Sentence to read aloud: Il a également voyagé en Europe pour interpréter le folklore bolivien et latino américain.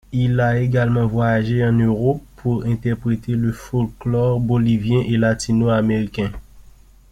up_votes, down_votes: 2, 1